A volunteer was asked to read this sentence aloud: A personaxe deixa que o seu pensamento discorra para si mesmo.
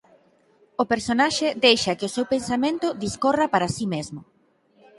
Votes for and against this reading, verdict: 0, 6, rejected